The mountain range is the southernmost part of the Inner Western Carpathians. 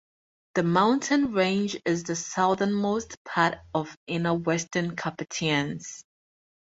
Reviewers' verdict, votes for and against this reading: rejected, 0, 4